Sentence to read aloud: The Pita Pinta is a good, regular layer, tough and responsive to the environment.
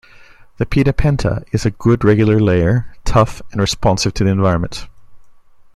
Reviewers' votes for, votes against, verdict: 2, 1, accepted